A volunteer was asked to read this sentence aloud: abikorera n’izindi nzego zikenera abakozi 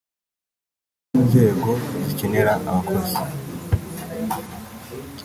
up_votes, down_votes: 0, 3